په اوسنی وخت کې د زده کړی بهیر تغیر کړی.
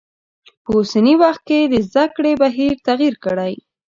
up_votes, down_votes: 2, 1